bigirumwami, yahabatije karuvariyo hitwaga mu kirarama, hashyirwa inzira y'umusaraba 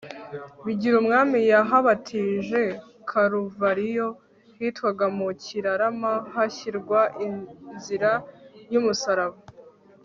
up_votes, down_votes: 3, 0